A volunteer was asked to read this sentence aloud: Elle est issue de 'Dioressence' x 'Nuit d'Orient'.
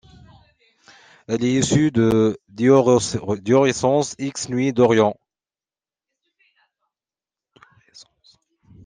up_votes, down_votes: 0, 2